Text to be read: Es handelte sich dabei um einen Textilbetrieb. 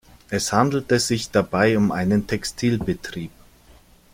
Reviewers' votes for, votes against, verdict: 2, 0, accepted